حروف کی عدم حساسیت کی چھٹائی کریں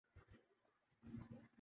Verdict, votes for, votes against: rejected, 0, 2